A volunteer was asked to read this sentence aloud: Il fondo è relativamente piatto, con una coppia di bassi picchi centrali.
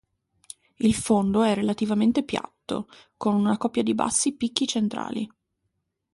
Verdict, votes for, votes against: accepted, 2, 0